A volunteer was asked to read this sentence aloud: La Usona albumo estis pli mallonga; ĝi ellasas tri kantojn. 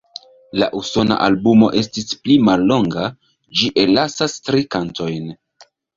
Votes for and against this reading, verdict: 2, 0, accepted